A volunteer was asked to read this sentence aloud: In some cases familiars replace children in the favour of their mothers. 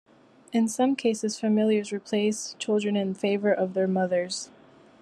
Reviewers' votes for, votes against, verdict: 2, 0, accepted